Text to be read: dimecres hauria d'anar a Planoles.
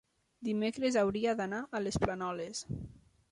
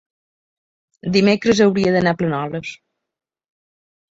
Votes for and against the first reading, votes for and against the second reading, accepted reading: 1, 2, 2, 0, second